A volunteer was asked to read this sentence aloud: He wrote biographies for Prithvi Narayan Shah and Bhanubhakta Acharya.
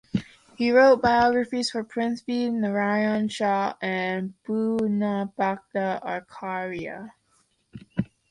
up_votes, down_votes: 2, 3